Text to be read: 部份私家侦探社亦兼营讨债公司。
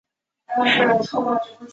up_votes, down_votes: 0, 2